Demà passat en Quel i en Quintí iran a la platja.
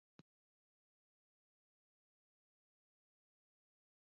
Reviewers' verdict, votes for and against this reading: rejected, 0, 2